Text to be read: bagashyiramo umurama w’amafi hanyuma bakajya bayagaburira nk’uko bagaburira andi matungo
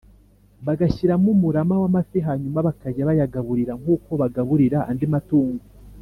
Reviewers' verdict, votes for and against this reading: accepted, 2, 0